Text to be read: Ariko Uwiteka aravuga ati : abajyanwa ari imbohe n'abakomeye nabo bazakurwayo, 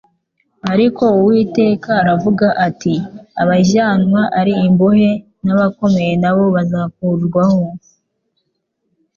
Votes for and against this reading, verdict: 3, 1, accepted